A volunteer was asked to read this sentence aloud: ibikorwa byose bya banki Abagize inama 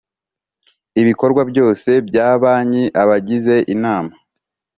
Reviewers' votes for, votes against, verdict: 3, 0, accepted